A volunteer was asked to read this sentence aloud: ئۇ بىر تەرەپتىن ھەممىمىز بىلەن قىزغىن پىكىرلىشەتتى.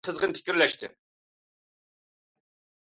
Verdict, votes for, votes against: rejected, 0, 2